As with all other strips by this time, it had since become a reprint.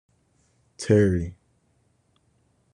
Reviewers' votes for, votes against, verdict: 0, 2, rejected